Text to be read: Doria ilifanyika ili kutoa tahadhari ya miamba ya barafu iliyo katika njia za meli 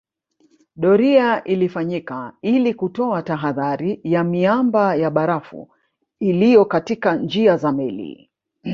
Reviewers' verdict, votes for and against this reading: rejected, 1, 2